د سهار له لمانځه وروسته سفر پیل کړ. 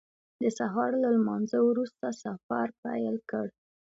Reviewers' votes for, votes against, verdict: 2, 0, accepted